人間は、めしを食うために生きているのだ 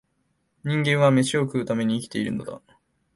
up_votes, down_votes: 2, 0